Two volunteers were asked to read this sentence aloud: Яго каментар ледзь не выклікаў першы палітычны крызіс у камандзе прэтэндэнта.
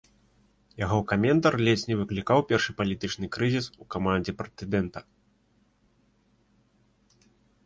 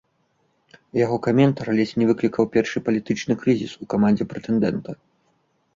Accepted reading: second